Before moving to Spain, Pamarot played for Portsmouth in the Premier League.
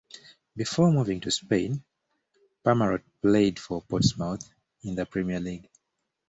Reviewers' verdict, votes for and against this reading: accepted, 2, 1